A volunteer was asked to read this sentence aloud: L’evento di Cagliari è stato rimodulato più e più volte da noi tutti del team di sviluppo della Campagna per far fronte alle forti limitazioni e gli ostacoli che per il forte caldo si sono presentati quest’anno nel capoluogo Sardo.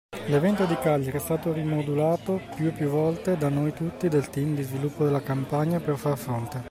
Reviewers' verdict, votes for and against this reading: rejected, 0, 2